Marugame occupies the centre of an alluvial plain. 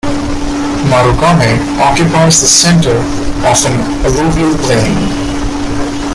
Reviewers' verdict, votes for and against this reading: accepted, 2, 0